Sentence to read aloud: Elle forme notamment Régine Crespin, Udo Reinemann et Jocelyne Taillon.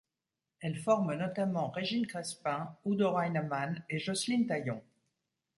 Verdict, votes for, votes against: accepted, 2, 0